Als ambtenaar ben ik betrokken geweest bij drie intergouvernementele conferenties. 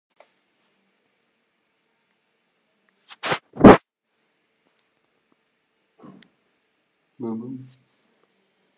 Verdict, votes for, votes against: rejected, 0, 2